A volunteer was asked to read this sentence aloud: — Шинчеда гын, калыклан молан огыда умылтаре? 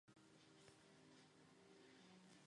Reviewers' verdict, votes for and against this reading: rejected, 1, 2